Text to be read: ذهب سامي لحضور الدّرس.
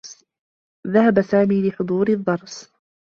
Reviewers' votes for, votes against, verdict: 2, 1, accepted